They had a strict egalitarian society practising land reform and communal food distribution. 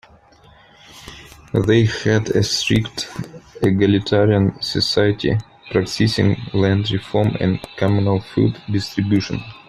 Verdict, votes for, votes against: rejected, 1, 2